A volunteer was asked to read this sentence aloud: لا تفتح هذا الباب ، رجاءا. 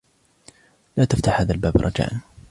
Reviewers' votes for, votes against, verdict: 2, 0, accepted